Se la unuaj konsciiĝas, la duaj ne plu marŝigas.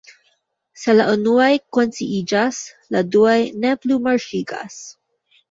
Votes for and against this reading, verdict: 2, 0, accepted